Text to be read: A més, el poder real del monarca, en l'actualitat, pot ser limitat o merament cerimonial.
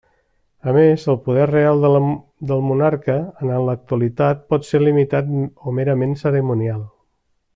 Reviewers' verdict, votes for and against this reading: rejected, 0, 2